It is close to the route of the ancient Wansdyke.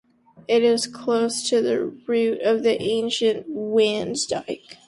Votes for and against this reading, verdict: 0, 2, rejected